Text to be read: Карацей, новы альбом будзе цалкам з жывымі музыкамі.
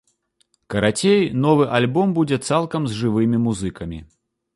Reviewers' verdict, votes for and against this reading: accepted, 2, 0